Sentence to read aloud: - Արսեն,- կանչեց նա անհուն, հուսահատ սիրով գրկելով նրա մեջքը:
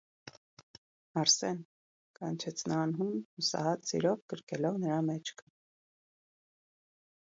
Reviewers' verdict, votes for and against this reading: rejected, 1, 2